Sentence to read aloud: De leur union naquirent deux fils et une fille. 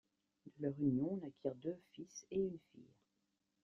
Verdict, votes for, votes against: accepted, 2, 0